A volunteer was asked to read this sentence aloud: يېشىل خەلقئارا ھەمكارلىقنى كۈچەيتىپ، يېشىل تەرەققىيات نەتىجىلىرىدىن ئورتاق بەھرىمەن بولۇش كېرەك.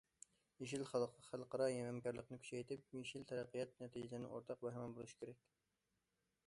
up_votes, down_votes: 0, 2